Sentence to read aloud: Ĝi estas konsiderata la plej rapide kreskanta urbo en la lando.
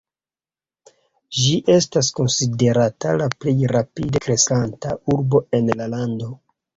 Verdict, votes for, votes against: rejected, 1, 2